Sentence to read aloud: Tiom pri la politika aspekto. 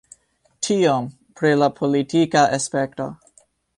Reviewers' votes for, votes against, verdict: 0, 2, rejected